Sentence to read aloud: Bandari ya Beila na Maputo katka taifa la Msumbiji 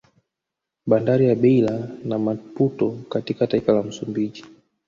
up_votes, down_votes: 1, 2